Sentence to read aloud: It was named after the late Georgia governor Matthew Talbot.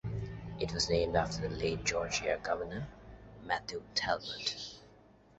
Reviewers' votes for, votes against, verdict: 2, 0, accepted